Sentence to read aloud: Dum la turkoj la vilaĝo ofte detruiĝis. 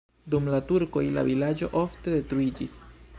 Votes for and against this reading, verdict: 1, 2, rejected